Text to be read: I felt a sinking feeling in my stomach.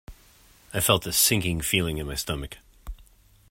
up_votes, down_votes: 2, 0